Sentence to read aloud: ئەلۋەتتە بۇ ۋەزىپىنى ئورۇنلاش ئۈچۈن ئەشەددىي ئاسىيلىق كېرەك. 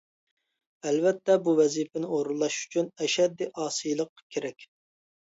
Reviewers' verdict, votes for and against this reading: accepted, 4, 0